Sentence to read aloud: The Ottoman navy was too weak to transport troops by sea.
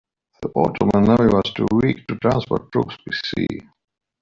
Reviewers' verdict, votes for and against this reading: rejected, 0, 2